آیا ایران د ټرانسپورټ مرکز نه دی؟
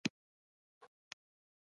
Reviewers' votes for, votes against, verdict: 0, 2, rejected